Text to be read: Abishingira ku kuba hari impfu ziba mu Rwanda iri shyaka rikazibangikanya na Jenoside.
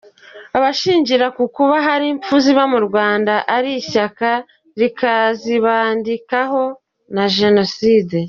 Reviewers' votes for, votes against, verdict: 0, 2, rejected